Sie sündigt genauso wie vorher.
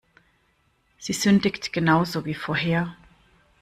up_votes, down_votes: 1, 2